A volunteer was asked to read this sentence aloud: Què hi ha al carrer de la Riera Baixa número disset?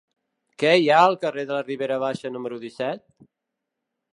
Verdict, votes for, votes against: rejected, 0, 2